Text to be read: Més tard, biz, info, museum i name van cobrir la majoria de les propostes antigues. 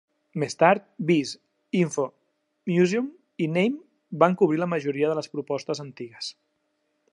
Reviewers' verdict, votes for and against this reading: accepted, 2, 0